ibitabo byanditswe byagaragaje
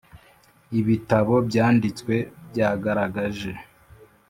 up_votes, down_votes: 2, 0